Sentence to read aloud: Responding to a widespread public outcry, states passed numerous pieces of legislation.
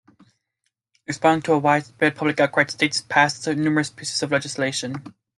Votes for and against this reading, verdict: 0, 2, rejected